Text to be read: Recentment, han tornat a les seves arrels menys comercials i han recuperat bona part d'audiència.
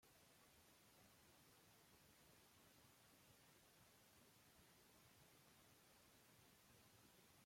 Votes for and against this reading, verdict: 0, 2, rejected